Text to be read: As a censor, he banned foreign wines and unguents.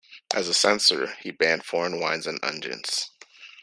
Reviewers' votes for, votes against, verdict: 2, 0, accepted